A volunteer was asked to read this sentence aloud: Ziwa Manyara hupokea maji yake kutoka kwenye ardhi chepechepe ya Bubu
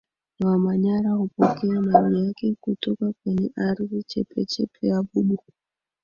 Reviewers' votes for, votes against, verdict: 0, 2, rejected